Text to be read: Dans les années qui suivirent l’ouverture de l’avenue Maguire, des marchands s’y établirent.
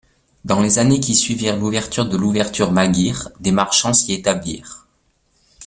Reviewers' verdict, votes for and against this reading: rejected, 0, 3